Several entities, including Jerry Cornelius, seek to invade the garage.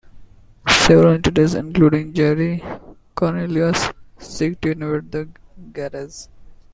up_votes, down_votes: 2, 1